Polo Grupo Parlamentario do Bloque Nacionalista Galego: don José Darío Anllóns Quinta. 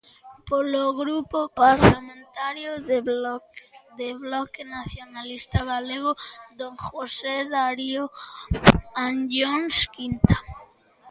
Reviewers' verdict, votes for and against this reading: rejected, 0, 3